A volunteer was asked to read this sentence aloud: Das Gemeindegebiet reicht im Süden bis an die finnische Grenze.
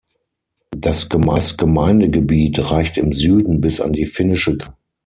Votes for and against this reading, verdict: 0, 6, rejected